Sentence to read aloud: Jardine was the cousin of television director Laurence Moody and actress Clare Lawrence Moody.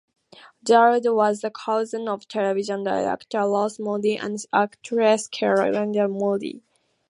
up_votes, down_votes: 2, 0